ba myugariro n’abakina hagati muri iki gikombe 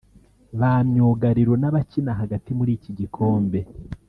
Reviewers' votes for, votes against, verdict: 1, 2, rejected